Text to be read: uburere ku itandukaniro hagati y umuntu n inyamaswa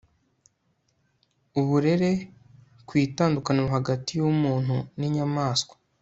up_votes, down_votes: 2, 0